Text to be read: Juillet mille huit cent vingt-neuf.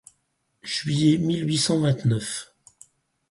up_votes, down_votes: 4, 0